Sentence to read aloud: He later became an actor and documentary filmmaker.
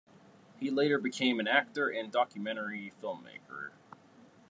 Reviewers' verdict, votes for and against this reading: accepted, 3, 0